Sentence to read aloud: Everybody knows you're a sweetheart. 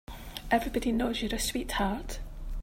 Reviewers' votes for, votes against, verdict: 2, 3, rejected